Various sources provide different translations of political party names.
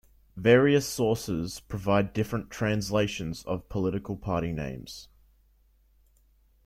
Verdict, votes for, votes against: accepted, 2, 0